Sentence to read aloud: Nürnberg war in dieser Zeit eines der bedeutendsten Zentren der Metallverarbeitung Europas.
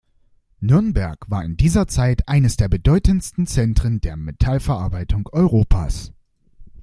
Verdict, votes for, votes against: accepted, 2, 0